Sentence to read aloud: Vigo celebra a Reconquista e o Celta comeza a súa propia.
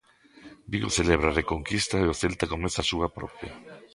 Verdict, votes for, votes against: accepted, 2, 0